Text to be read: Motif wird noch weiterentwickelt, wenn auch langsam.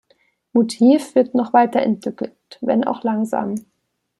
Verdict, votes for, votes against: accepted, 2, 0